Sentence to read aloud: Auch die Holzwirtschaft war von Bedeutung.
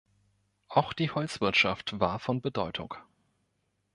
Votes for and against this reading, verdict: 2, 0, accepted